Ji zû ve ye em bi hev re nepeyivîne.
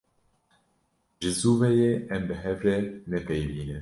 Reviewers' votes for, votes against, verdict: 2, 0, accepted